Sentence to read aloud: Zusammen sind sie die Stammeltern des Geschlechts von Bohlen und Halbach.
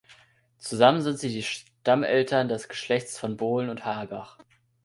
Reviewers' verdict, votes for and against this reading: rejected, 1, 2